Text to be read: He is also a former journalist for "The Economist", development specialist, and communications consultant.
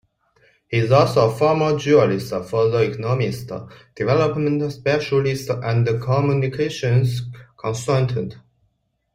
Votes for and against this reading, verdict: 1, 2, rejected